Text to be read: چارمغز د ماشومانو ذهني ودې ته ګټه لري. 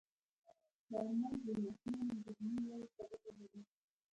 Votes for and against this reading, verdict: 3, 2, accepted